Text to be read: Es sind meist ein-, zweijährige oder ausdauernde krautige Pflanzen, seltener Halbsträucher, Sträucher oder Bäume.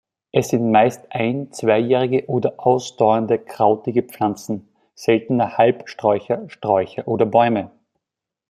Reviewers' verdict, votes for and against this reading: accepted, 2, 0